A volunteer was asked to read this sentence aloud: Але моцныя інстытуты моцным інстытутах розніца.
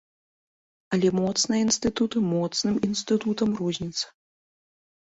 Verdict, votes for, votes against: rejected, 0, 2